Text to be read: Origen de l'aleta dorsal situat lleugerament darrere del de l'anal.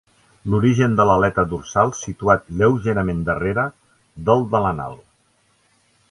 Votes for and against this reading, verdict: 1, 2, rejected